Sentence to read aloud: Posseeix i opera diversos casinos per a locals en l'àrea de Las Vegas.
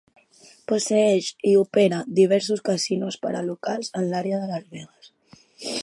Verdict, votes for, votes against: accepted, 4, 1